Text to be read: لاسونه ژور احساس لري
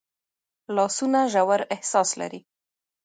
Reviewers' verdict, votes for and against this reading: accepted, 2, 0